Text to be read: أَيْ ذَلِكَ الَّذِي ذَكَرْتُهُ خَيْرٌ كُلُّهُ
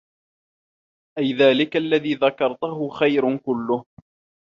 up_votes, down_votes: 0, 2